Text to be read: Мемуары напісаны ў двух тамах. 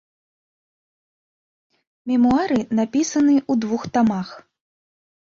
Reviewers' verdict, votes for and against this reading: accepted, 2, 0